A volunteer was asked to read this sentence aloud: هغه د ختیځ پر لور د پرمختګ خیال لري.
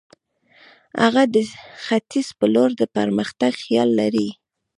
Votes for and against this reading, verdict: 2, 0, accepted